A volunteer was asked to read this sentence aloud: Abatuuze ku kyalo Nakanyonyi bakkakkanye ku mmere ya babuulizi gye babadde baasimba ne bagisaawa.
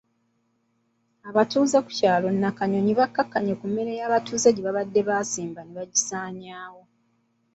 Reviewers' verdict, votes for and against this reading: accepted, 2, 0